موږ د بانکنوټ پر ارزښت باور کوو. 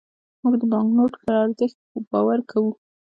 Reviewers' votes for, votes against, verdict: 2, 0, accepted